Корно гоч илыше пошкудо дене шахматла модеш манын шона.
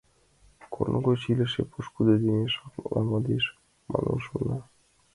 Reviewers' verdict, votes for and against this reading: accepted, 2, 0